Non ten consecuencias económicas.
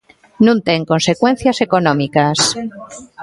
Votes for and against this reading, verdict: 2, 0, accepted